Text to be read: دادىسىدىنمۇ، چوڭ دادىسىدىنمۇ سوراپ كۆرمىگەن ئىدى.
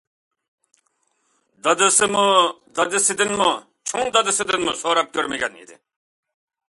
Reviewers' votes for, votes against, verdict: 0, 2, rejected